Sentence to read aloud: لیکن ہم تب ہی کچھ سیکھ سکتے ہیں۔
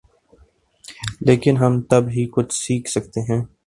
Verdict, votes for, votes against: accepted, 3, 0